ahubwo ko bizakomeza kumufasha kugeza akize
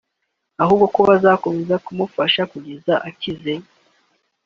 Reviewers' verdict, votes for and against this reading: accepted, 2, 0